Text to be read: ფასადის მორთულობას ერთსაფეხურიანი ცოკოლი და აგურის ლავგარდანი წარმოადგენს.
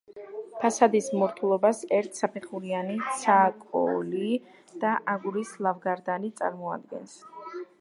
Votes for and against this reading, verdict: 0, 2, rejected